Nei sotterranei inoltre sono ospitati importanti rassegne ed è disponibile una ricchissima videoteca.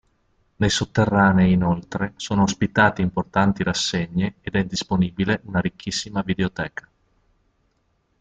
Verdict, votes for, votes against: accepted, 3, 0